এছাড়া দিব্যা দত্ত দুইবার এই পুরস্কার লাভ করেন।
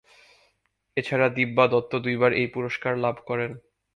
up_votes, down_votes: 2, 0